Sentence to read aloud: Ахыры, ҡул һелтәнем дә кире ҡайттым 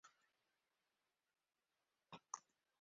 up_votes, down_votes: 0, 2